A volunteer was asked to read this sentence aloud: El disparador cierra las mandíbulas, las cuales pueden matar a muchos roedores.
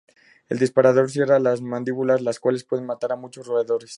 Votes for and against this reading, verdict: 2, 0, accepted